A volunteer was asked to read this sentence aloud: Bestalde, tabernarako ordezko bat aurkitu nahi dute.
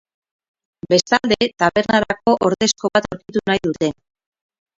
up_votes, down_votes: 2, 0